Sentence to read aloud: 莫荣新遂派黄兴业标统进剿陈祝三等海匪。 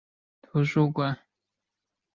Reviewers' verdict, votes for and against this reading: accepted, 4, 3